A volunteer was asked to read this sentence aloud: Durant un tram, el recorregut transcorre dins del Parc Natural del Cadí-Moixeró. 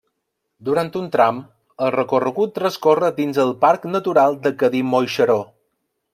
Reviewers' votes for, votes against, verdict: 1, 2, rejected